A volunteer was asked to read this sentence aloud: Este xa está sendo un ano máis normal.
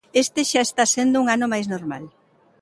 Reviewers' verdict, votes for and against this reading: accepted, 3, 0